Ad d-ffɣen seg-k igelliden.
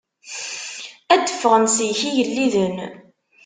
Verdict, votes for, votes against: accepted, 2, 1